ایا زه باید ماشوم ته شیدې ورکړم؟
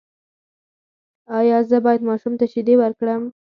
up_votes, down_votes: 4, 0